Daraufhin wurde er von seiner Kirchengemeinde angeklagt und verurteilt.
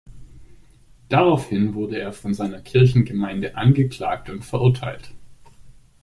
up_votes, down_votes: 2, 0